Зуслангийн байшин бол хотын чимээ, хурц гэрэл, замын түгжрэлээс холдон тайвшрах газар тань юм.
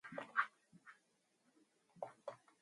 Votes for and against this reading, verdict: 4, 4, rejected